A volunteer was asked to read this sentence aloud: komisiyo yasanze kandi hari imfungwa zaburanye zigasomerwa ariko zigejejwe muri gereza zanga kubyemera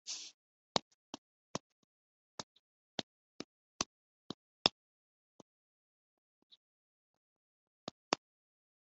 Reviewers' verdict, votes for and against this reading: rejected, 0, 2